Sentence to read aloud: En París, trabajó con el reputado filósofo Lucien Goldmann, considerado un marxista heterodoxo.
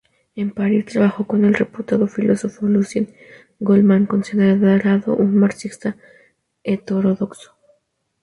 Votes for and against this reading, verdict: 0, 2, rejected